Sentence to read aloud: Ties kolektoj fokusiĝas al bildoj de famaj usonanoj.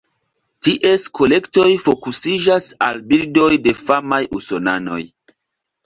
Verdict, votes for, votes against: accepted, 2, 1